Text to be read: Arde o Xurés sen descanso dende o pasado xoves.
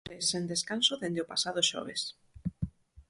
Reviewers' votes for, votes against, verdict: 0, 6, rejected